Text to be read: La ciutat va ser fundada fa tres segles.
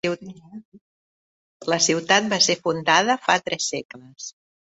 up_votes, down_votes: 2, 1